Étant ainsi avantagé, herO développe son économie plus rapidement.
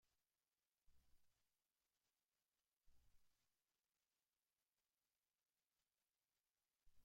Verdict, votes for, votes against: rejected, 1, 2